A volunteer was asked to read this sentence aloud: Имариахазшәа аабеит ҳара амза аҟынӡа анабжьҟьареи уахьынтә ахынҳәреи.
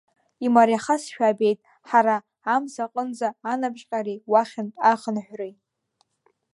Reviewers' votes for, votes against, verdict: 1, 2, rejected